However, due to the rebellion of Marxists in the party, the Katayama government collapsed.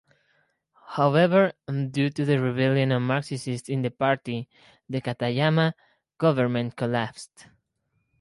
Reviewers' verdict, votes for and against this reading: accepted, 2, 0